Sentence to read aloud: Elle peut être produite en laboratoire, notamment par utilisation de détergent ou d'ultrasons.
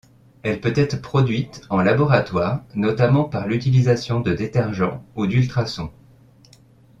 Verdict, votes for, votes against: rejected, 1, 2